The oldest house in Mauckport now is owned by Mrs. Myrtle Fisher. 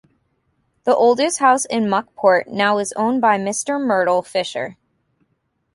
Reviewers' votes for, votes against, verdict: 1, 2, rejected